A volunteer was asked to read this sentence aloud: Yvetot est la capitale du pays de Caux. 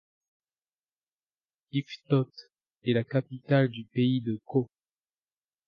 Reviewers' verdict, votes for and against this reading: rejected, 1, 2